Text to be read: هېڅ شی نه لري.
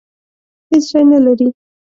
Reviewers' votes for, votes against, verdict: 2, 0, accepted